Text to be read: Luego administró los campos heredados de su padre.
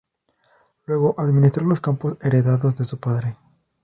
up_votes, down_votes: 2, 0